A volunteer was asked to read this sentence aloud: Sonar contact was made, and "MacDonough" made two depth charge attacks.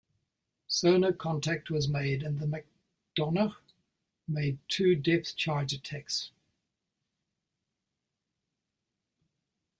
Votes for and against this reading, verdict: 0, 2, rejected